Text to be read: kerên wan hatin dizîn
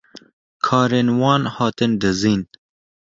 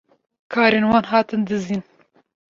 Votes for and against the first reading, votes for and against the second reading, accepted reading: 1, 2, 2, 1, second